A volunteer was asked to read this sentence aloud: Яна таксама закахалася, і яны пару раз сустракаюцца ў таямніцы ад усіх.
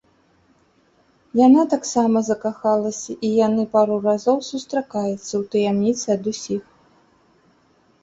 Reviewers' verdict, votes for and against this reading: rejected, 1, 4